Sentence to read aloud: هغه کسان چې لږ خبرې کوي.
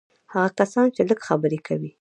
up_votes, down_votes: 2, 0